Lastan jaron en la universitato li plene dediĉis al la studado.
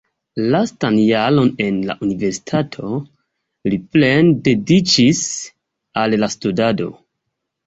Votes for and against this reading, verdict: 2, 1, accepted